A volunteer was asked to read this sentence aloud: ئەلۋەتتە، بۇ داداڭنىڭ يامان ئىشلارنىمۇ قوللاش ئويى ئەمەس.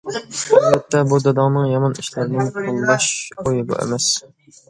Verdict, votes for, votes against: rejected, 1, 2